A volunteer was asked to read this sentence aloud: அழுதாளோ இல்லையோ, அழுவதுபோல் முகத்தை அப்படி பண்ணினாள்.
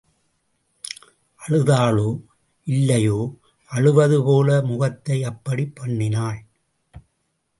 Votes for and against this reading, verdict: 2, 0, accepted